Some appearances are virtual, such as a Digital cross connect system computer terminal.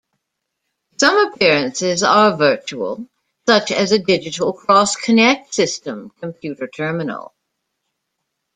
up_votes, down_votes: 2, 0